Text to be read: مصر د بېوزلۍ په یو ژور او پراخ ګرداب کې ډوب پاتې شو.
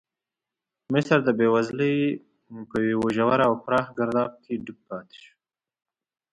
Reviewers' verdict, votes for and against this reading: accepted, 2, 1